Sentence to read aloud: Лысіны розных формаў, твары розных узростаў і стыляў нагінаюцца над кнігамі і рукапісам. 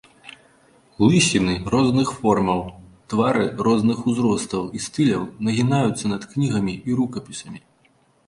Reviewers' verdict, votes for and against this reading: rejected, 1, 2